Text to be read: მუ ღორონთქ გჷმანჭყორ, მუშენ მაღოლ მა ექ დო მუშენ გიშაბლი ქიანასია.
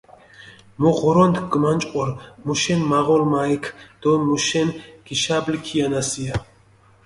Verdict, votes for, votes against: accepted, 2, 0